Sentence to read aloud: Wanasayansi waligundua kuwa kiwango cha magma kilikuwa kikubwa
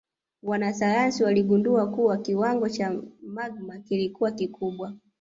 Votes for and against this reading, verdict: 2, 0, accepted